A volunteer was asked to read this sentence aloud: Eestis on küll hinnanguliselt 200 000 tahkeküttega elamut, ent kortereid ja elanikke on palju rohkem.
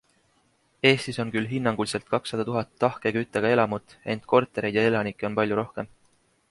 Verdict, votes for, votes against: rejected, 0, 2